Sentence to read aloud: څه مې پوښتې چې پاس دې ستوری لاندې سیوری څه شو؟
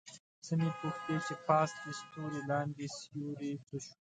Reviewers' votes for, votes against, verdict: 1, 2, rejected